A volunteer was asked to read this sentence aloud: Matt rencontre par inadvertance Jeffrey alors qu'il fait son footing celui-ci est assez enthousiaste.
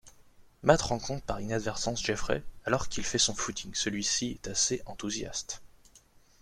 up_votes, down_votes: 1, 2